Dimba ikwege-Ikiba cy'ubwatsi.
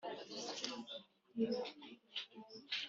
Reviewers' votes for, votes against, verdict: 0, 2, rejected